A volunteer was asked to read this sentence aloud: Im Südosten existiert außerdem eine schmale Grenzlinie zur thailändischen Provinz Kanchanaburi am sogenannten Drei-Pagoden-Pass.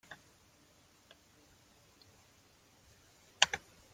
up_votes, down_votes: 0, 2